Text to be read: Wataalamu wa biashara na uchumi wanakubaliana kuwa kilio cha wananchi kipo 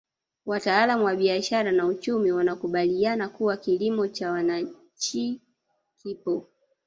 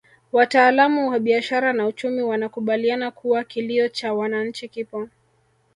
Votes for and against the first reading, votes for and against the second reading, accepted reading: 1, 2, 3, 1, second